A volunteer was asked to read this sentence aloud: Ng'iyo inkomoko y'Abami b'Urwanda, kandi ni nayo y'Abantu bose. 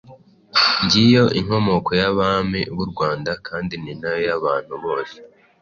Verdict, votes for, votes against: accepted, 2, 0